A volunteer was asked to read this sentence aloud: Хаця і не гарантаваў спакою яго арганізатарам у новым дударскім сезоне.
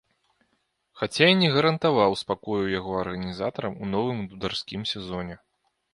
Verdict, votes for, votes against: accepted, 2, 1